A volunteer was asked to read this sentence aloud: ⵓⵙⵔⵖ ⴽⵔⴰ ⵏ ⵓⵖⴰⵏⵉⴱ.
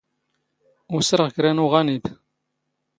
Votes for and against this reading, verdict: 1, 2, rejected